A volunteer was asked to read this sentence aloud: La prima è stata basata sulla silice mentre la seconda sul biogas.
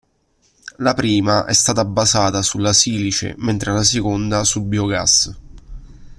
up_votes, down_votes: 2, 0